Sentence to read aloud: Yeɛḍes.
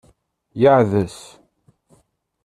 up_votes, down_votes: 1, 2